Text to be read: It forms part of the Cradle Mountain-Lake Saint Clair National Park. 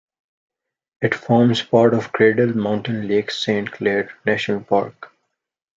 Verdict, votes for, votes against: rejected, 1, 2